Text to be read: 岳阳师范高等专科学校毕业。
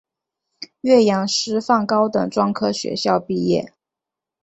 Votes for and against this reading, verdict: 5, 0, accepted